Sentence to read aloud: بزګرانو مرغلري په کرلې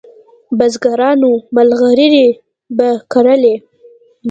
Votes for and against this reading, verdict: 1, 2, rejected